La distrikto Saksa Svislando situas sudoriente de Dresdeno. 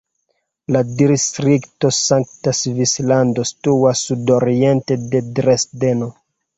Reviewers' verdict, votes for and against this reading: rejected, 1, 2